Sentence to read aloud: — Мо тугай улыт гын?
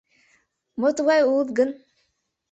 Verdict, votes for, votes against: accepted, 2, 0